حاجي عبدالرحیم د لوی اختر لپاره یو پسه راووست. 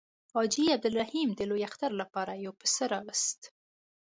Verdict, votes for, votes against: accepted, 2, 0